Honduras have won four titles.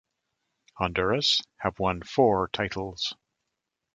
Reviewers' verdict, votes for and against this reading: accepted, 2, 0